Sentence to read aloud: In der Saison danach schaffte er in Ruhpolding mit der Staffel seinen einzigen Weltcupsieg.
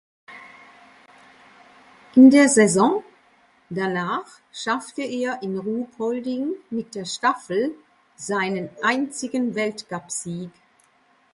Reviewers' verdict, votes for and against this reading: accepted, 2, 0